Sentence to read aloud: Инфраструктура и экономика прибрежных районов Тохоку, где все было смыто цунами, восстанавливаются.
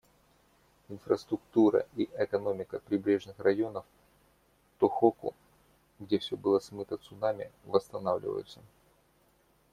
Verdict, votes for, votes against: accepted, 2, 0